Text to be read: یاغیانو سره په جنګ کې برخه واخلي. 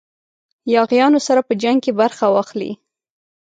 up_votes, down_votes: 3, 0